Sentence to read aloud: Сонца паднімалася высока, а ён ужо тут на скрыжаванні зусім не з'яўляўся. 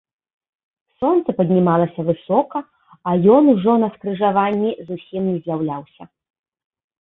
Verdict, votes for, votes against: rejected, 1, 2